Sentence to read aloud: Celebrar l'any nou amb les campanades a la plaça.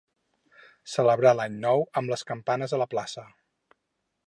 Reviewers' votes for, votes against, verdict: 2, 4, rejected